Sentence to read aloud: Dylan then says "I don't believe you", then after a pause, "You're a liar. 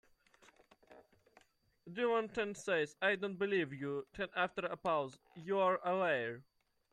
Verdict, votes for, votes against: rejected, 0, 2